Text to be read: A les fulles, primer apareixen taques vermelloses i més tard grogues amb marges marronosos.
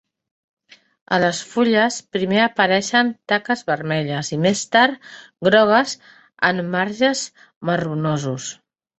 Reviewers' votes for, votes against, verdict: 0, 2, rejected